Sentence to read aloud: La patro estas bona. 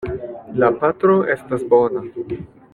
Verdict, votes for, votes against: accepted, 2, 0